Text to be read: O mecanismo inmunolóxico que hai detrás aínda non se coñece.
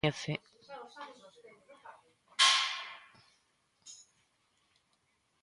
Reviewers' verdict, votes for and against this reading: rejected, 0, 2